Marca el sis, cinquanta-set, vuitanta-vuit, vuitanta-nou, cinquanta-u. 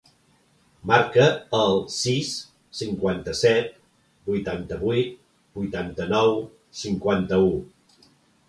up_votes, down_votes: 3, 0